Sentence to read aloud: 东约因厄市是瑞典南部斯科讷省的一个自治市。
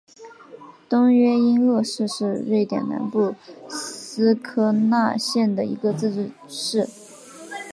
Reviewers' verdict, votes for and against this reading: rejected, 1, 2